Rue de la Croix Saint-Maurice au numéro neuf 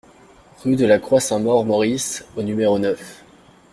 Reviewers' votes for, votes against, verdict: 0, 2, rejected